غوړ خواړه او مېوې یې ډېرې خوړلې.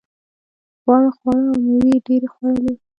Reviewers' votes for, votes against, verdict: 1, 2, rejected